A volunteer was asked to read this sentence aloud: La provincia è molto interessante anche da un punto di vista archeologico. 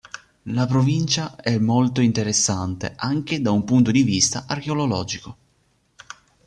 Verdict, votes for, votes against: rejected, 0, 2